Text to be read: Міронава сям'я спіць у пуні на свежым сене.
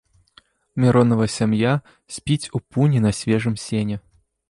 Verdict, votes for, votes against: accepted, 2, 0